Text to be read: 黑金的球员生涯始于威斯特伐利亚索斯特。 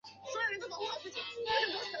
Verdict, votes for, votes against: rejected, 0, 2